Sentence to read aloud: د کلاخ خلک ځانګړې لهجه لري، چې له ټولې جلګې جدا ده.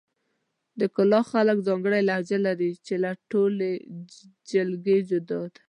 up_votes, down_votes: 1, 2